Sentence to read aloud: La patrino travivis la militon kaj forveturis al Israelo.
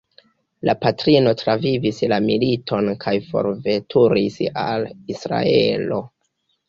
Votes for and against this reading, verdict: 2, 1, accepted